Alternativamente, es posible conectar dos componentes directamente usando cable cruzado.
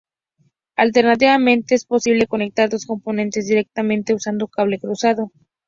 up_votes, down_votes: 2, 0